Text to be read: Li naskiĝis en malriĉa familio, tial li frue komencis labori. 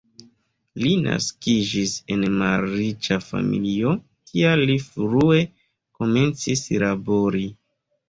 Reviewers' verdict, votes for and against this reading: accepted, 2, 0